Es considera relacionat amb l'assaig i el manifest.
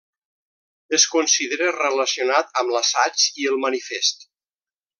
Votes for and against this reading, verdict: 3, 0, accepted